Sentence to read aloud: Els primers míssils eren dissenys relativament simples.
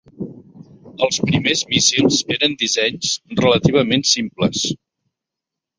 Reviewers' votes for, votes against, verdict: 2, 0, accepted